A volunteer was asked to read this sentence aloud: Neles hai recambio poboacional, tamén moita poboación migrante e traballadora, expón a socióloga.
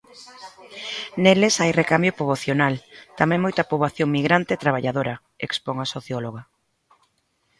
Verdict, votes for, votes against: accepted, 2, 0